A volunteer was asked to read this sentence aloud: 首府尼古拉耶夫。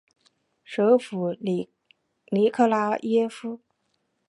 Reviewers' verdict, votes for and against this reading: rejected, 0, 2